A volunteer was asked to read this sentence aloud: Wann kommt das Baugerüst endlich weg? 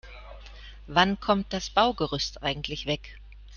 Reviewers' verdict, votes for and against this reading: rejected, 0, 2